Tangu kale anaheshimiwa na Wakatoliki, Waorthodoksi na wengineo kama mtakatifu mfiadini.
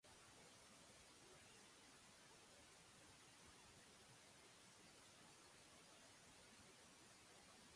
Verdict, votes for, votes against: rejected, 0, 2